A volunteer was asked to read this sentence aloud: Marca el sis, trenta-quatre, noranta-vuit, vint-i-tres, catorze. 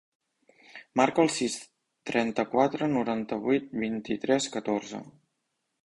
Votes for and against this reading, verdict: 3, 0, accepted